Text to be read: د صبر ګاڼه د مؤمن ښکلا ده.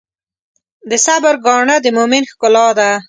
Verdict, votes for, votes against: accepted, 2, 0